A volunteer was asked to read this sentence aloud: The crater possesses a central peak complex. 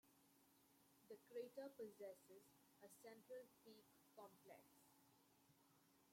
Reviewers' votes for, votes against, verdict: 1, 2, rejected